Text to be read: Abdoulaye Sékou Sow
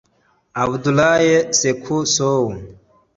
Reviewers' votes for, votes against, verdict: 2, 0, accepted